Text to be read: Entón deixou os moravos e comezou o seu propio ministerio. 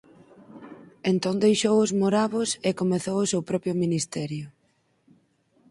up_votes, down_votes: 4, 0